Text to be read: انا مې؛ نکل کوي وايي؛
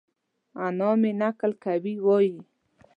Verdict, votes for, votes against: accepted, 2, 0